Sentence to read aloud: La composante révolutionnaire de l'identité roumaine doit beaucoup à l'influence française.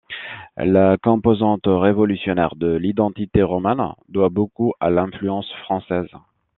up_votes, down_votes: 2, 0